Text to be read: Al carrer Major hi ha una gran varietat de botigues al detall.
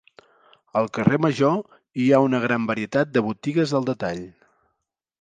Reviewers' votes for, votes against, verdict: 3, 0, accepted